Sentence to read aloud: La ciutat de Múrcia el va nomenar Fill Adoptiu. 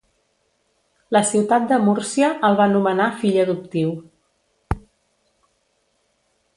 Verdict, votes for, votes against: accepted, 2, 0